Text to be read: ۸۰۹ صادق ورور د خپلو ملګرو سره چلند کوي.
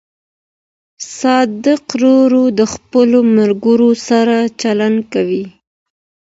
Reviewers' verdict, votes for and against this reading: rejected, 0, 2